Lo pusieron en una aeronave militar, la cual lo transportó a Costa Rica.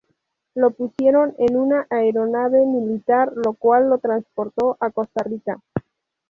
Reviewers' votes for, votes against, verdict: 0, 2, rejected